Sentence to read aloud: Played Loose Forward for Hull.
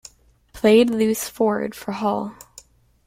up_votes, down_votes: 2, 1